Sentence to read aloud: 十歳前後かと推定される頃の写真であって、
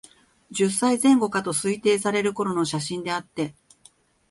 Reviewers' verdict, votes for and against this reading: accepted, 2, 0